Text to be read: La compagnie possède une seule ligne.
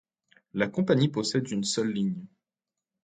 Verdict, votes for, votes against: accepted, 2, 0